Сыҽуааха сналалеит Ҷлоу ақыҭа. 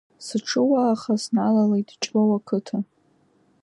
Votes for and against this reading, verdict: 2, 1, accepted